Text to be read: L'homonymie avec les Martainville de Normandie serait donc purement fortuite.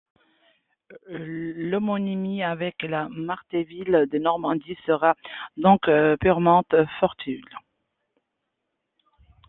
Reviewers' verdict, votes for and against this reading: rejected, 0, 2